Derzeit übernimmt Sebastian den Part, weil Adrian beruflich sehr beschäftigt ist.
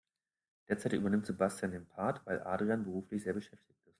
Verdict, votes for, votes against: rejected, 1, 3